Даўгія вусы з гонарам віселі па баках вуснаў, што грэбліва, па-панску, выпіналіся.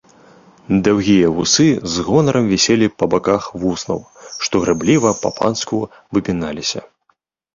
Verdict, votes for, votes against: rejected, 1, 2